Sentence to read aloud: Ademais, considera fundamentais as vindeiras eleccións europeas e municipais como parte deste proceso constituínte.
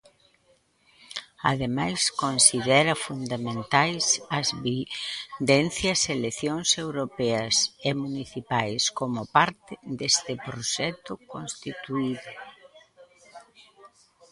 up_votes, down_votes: 0, 2